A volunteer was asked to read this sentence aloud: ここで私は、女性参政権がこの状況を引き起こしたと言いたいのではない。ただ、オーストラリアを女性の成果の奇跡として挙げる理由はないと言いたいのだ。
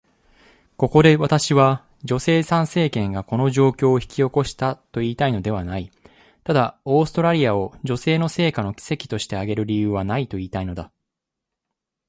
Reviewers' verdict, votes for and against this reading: accepted, 2, 0